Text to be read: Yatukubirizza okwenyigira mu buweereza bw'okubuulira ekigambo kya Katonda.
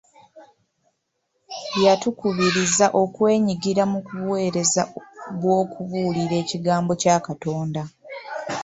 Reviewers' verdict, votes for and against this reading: rejected, 0, 3